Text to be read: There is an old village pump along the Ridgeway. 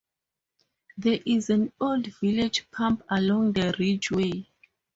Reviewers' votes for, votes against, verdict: 4, 0, accepted